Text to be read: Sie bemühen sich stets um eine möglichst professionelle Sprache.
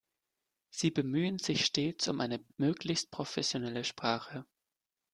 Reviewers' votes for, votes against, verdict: 3, 0, accepted